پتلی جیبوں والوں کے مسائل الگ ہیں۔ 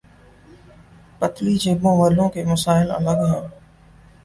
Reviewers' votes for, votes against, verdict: 4, 0, accepted